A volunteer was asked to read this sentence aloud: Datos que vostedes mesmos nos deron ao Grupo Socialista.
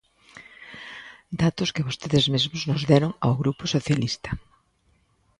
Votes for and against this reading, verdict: 2, 0, accepted